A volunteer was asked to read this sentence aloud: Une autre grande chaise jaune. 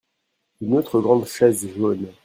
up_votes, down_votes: 1, 2